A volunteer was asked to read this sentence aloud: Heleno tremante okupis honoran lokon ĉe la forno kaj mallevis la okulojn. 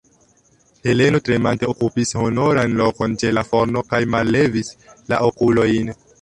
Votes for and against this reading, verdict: 0, 3, rejected